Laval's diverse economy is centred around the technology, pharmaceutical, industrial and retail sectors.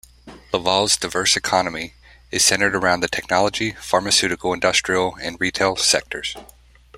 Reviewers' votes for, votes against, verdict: 1, 2, rejected